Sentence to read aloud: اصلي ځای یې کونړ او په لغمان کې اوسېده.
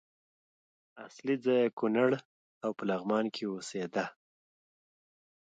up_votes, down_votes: 2, 0